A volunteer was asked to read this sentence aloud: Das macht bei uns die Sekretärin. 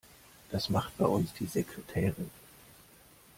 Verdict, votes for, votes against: accepted, 2, 0